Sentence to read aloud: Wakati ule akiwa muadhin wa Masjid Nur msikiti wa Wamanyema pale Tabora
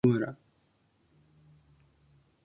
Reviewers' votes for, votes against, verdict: 0, 2, rejected